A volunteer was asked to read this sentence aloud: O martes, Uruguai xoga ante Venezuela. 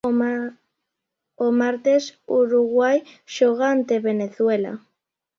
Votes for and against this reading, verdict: 0, 2, rejected